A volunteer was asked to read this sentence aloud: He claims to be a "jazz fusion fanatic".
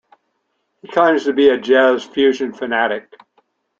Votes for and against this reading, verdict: 2, 0, accepted